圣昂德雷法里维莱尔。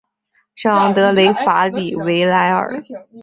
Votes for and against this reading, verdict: 1, 2, rejected